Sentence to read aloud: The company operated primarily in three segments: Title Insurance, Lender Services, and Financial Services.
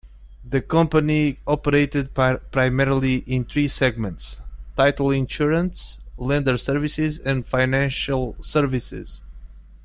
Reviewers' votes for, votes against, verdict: 1, 2, rejected